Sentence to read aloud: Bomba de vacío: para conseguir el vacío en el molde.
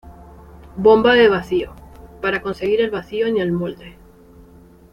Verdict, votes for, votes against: accepted, 2, 0